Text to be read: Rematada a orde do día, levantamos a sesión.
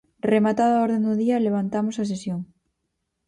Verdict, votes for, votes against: rejected, 0, 4